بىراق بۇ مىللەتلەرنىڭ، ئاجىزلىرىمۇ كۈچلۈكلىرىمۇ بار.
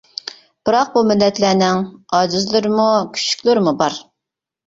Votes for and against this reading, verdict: 1, 2, rejected